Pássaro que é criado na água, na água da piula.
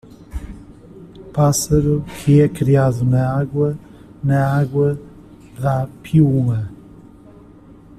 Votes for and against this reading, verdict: 1, 2, rejected